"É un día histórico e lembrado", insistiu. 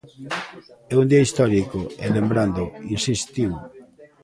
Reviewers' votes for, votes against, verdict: 0, 2, rejected